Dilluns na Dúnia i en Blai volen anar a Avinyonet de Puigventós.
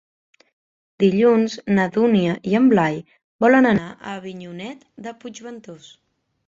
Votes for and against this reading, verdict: 2, 0, accepted